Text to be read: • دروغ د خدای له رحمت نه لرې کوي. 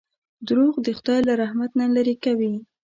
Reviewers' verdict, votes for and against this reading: accepted, 2, 1